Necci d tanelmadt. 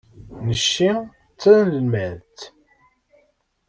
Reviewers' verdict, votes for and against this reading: accepted, 2, 0